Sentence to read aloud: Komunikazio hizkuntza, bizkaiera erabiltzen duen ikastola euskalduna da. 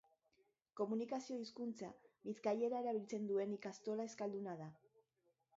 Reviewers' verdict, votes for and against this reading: accepted, 2, 0